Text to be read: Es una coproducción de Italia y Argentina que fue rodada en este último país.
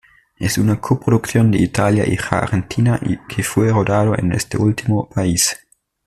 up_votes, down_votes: 1, 2